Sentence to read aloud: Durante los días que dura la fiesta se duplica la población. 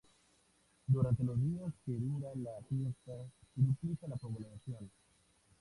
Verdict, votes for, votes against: rejected, 0, 2